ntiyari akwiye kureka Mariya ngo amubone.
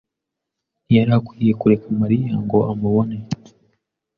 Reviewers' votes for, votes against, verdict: 2, 0, accepted